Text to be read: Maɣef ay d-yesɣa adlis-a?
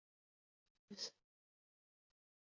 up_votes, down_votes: 0, 2